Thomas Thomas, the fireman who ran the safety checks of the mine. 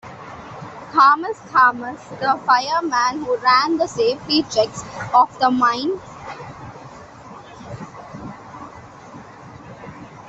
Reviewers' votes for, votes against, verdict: 2, 0, accepted